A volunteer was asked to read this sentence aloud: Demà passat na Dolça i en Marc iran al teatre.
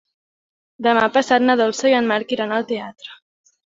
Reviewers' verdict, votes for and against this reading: accepted, 3, 0